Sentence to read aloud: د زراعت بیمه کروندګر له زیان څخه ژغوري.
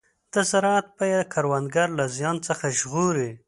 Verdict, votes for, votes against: rejected, 1, 2